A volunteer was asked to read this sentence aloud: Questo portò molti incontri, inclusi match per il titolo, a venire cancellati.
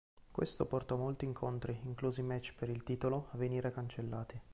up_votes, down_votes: 0, 2